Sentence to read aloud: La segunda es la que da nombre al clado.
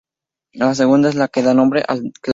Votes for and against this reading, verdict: 0, 2, rejected